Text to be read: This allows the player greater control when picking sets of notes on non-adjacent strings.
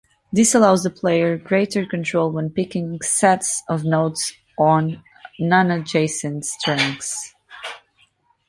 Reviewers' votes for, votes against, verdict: 2, 1, accepted